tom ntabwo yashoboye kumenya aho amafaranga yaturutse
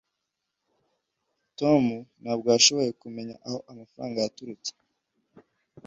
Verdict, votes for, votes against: accepted, 2, 0